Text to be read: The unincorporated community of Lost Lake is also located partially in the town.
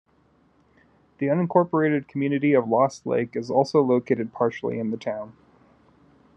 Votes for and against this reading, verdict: 2, 0, accepted